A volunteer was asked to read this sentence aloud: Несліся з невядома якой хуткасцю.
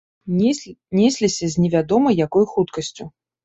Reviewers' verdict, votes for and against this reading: rejected, 0, 2